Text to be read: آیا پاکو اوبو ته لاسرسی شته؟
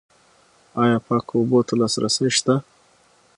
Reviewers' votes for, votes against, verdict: 6, 0, accepted